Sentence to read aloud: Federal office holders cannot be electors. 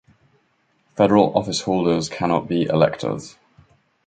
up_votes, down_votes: 2, 0